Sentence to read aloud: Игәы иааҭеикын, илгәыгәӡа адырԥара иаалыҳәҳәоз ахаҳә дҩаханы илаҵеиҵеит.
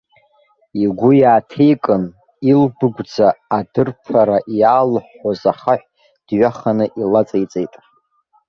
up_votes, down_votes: 1, 2